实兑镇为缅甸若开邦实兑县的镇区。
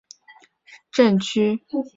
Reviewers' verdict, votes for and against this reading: rejected, 0, 3